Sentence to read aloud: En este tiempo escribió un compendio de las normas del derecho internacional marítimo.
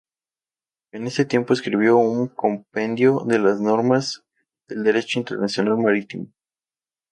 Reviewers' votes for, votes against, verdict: 2, 0, accepted